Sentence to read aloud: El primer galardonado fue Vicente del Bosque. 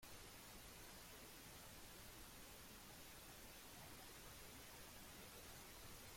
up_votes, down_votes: 0, 2